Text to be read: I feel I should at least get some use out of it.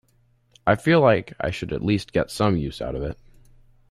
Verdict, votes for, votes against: rejected, 0, 2